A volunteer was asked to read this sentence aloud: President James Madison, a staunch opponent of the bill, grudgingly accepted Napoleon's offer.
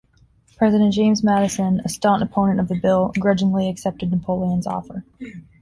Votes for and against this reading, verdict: 0, 2, rejected